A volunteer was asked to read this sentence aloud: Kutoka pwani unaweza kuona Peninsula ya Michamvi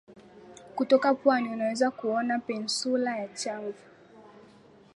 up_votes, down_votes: 1, 2